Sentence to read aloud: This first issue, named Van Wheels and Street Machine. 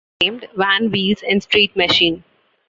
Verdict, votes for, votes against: rejected, 0, 2